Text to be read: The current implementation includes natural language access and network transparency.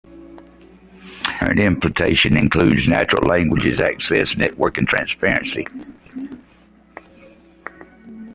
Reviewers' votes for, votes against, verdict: 1, 2, rejected